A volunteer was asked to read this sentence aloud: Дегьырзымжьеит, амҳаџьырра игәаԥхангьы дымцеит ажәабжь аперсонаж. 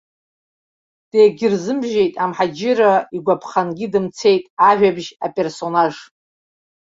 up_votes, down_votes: 2, 0